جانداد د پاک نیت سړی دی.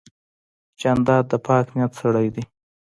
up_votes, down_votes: 1, 2